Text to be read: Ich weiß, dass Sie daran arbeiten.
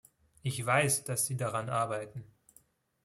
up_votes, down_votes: 2, 0